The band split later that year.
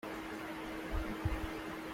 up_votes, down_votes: 0, 2